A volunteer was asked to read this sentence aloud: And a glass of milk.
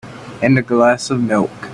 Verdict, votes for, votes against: rejected, 1, 2